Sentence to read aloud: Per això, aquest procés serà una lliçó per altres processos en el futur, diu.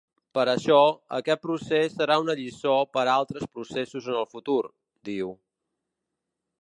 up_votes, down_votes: 2, 0